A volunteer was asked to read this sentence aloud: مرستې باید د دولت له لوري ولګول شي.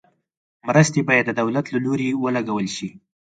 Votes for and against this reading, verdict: 4, 0, accepted